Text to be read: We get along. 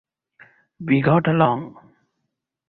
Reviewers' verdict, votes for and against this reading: rejected, 0, 4